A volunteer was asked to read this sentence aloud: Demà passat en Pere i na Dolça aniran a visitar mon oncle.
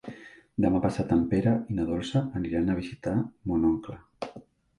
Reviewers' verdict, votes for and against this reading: accepted, 3, 1